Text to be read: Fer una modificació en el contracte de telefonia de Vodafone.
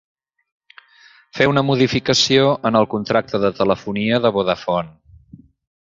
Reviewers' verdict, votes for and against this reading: accepted, 3, 0